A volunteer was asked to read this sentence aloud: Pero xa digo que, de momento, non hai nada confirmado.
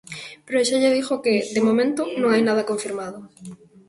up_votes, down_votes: 1, 2